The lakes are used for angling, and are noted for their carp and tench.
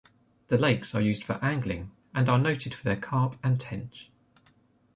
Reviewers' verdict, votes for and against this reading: accepted, 2, 0